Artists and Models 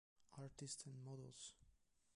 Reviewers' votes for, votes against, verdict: 0, 2, rejected